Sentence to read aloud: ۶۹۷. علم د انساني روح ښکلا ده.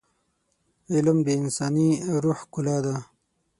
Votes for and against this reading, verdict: 0, 2, rejected